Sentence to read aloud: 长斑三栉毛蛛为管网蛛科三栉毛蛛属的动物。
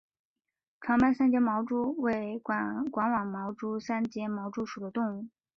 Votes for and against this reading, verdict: 2, 1, accepted